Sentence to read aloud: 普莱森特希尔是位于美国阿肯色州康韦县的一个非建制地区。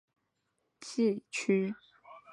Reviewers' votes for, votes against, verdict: 0, 3, rejected